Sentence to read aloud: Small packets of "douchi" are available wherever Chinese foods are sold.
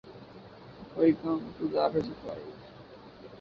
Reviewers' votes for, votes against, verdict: 0, 2, rejected